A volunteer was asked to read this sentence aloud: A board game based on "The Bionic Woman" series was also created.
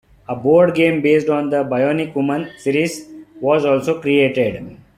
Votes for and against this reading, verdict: 2, 0, accepted